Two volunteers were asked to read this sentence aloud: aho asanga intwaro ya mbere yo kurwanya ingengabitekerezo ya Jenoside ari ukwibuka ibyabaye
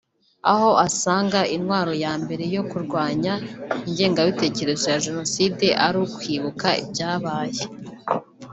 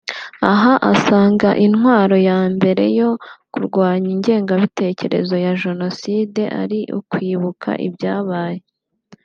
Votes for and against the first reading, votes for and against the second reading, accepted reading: 1, 2, 2, 0, second